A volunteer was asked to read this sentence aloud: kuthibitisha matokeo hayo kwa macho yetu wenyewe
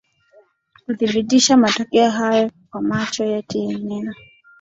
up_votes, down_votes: 0, 2